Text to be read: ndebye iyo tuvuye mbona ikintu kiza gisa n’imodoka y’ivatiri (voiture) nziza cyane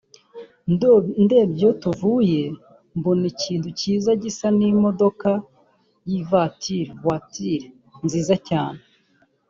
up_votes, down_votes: 0, 3